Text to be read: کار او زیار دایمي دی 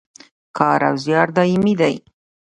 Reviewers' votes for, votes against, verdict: 2, 0, accepted